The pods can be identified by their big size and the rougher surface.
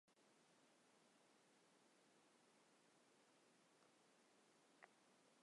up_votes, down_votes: 0, 3